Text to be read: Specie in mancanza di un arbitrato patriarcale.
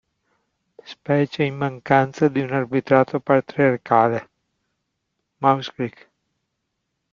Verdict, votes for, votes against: rejected, 0, 2